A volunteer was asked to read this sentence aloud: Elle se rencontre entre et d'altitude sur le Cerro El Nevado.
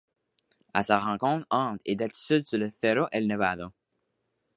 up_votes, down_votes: 1, 2